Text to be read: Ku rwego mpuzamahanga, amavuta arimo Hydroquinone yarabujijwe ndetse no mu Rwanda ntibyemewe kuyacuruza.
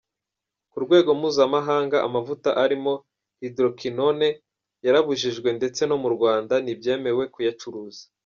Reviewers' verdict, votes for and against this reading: accepted, 2, 1